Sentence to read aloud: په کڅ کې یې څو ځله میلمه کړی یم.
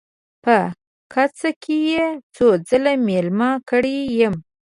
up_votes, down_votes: 2, 0